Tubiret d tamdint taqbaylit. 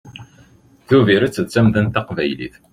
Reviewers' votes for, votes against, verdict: 0, 2, rejected